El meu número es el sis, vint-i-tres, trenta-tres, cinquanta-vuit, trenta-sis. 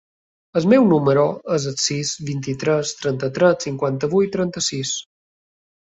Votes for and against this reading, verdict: 3, 0, accepted